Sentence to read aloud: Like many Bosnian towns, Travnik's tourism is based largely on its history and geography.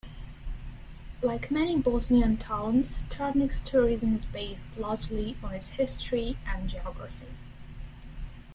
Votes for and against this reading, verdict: 2, 0, accepted